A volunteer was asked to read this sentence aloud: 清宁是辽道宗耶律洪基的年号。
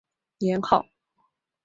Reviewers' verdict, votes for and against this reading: rejected, 0, 3